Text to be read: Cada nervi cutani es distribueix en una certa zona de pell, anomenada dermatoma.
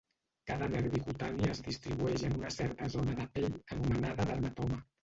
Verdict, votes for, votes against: rejected, 0, 2